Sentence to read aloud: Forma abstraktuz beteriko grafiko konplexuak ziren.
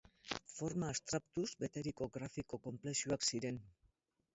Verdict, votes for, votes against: accepted, 2, 0